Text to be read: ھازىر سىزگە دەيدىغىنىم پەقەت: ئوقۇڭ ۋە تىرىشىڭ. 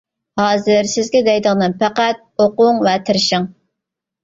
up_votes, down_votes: 2, 0